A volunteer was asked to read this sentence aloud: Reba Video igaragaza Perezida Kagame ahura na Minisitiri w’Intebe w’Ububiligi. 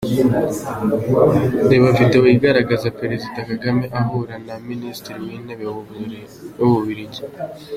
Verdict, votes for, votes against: accepted, 2, 0